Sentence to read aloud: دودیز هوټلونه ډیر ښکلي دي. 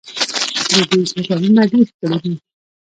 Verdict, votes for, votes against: rejected, 1, 2